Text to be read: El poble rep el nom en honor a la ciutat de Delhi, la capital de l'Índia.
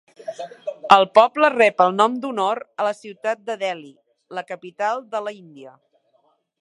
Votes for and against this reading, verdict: 1, 3, rejected